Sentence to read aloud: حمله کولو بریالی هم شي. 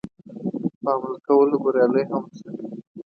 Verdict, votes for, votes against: rejected, 0, 2